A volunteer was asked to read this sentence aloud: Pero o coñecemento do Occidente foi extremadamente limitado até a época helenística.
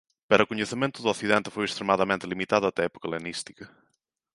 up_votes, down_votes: 3, 1